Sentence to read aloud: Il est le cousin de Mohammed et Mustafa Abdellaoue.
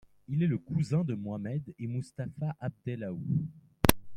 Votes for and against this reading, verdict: 1, 2, rejected